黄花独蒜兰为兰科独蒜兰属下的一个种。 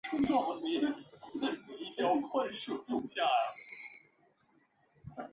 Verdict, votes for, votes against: rejected, 0, 2